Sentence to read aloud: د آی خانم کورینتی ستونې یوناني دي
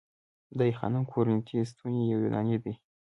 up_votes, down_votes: 0, 2